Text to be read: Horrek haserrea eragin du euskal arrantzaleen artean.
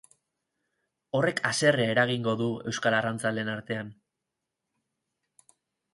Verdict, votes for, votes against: rejected, 0, 6